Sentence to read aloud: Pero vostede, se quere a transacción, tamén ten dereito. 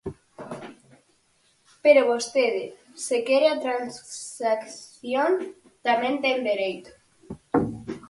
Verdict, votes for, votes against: rejected, 0, 4